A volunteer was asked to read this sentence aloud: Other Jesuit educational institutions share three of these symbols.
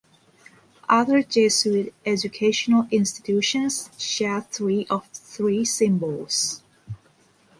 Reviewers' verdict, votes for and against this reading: rejected, 1, 2